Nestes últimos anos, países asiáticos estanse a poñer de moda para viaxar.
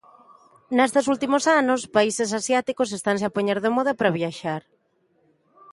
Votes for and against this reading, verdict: 0, 2, rejected